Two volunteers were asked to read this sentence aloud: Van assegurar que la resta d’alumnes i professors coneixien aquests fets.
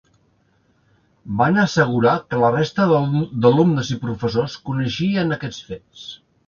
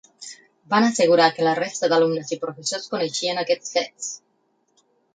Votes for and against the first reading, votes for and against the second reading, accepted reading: 0, 2, 6, 0, second